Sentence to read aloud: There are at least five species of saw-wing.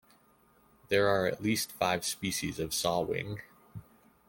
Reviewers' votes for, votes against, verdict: 2, 0, accepted